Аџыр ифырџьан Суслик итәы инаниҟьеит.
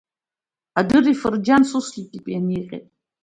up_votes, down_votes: 0, 2